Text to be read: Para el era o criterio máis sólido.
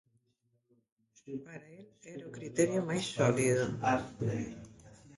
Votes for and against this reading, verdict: 0, 2, rejected